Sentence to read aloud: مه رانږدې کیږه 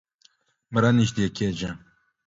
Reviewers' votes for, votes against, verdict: 2, 0, accepted